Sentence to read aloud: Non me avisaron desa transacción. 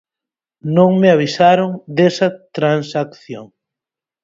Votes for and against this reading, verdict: 4, 0, accepted